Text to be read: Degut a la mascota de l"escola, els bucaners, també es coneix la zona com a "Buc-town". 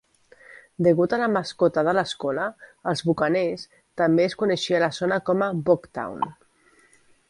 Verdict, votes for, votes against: rejected, 0, 2